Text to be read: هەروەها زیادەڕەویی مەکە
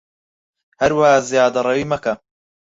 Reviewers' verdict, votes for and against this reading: accepted, 4, 0